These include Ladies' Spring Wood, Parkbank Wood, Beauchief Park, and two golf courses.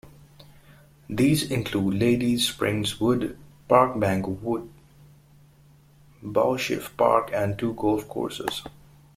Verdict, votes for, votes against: rejected, 0, 2